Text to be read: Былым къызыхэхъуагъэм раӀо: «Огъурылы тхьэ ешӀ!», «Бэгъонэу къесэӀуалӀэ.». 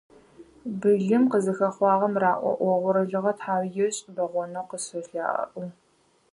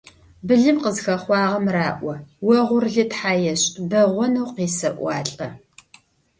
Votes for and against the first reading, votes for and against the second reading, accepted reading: 0, 4, 2, 0, second